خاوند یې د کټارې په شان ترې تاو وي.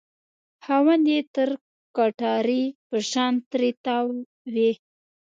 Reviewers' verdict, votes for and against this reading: rejected, 1, 2